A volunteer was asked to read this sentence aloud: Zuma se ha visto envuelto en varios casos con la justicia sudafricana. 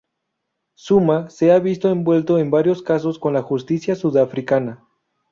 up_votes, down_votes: 2, 0